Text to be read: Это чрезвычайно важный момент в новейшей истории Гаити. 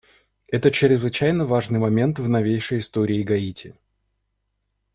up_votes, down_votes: 2, 0